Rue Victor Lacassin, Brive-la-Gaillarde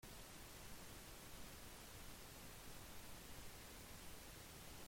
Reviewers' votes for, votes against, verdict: 0, 2, rejected